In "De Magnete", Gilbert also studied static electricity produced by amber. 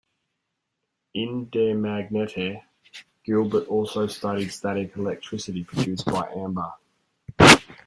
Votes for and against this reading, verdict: 1, 2, rejected